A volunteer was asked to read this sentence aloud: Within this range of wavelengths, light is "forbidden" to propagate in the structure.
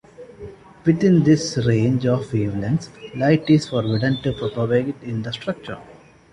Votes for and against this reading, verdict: 2, 0, accepted